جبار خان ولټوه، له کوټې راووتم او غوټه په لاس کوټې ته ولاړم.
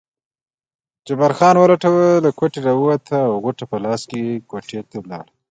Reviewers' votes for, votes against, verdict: 2, 0, accepted